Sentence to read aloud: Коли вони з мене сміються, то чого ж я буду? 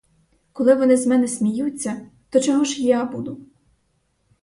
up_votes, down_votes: 4, 0